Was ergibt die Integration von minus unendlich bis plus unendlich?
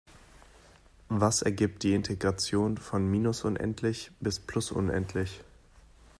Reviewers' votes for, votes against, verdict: 2, 0, accepted